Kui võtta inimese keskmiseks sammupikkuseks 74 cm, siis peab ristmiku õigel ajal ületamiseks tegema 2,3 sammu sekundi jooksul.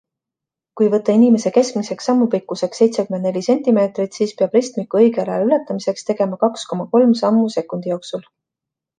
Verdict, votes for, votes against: rejected, 0, 2